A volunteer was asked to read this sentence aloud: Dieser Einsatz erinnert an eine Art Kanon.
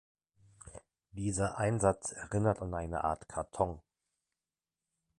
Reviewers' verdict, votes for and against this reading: rejected, 0, 2